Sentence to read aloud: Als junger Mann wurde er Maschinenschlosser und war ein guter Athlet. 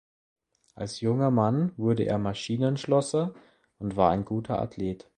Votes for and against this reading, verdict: 2, 0, accepted